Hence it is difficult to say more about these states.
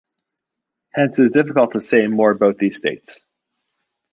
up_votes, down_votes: 2, 0